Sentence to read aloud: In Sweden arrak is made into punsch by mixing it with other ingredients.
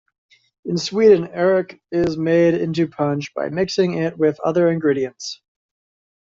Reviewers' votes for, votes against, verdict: 2, 0, accepted